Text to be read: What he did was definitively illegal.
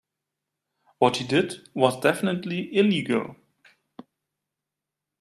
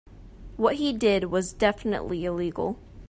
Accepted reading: second